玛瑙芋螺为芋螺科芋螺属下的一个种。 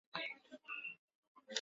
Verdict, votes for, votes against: rejected, 1, 4